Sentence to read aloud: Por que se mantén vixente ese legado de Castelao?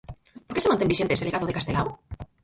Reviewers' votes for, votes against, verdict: 2, 4, rejected